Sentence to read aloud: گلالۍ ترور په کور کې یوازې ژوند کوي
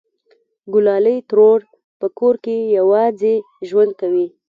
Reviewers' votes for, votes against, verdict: 1, 2, rejected